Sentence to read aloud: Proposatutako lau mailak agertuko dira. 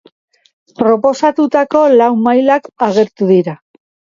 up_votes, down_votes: 1, 2